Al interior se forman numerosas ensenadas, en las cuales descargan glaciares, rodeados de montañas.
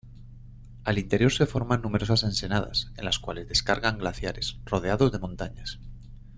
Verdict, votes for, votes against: accepted, 2, 0